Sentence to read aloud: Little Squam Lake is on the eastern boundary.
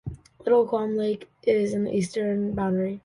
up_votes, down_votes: 1, 2